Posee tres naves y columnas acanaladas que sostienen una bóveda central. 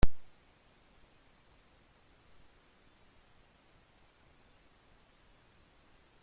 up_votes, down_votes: 0, 3